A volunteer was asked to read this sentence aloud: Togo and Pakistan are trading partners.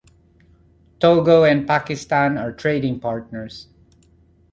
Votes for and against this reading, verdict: 2, 0, accepted